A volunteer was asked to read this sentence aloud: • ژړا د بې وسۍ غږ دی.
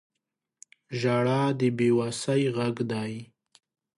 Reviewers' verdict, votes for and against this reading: accepted, 2, 1